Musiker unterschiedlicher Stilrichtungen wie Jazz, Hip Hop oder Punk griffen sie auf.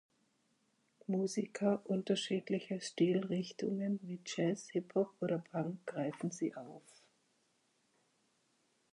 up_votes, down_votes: 6, 9